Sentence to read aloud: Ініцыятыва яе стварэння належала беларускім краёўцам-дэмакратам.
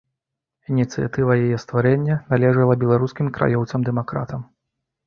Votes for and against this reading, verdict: 2, 0, accepted